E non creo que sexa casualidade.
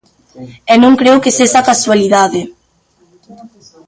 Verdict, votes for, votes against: rejected, 1, 2